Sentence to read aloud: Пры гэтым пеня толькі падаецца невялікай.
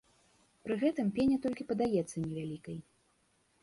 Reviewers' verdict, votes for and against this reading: accepted, 2, 0